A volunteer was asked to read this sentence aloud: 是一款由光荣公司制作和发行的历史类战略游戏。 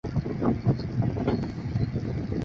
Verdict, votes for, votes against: rejected, 1, 2